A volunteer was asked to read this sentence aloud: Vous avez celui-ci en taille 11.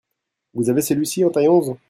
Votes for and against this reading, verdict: 0, 2, rejected